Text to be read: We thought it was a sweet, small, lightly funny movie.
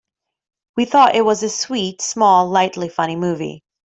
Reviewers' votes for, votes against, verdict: 2, 0, accepted